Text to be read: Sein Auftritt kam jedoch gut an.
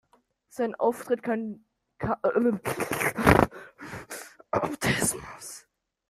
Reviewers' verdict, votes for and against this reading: rejected, 0, 2